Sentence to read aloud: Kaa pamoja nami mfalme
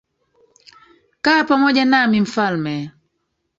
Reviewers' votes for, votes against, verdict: 1, 2, rejected